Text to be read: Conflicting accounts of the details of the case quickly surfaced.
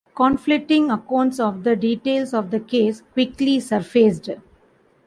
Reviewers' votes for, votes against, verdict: 2, 0, accepted